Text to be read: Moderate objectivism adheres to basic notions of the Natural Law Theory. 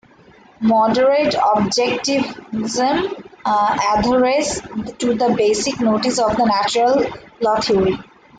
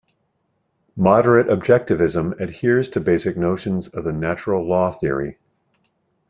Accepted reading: second